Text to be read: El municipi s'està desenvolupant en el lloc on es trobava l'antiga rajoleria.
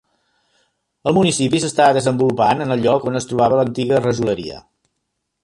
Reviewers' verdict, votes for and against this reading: accepted, 2, 0